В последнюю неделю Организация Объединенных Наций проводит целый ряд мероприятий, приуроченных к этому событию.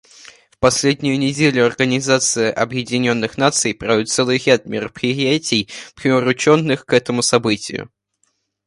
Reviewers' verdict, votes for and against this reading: rejected, 0, 2